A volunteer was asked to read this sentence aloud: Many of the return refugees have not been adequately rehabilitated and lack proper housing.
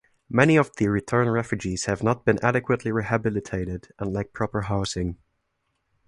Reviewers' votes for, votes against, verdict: 2, 0, accepted